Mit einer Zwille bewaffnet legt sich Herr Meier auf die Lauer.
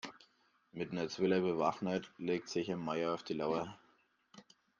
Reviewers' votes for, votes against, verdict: 0, 2, rejected